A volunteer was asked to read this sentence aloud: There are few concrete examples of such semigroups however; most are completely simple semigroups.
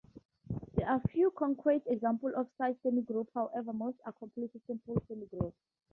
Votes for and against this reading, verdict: 0, 2, rejected